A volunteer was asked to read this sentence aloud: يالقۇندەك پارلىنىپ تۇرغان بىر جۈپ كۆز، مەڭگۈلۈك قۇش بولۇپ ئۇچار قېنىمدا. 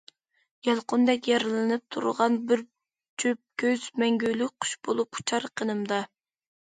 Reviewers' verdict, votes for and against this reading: rejected, 0, 2